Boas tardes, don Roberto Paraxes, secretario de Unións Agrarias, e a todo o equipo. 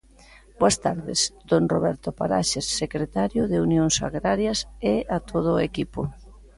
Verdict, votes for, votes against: accepted, 2, 0